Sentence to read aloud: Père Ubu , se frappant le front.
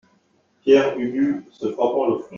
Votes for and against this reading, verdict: 1, 2, rejected